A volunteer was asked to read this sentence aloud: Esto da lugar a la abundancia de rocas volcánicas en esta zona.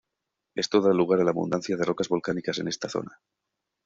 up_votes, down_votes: 2, 0